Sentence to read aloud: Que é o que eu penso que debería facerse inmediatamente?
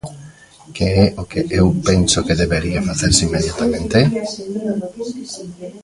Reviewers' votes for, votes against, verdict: 1, 2, rejected